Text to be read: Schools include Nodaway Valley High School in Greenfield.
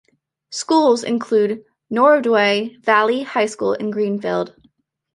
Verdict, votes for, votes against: rejected, 0, 2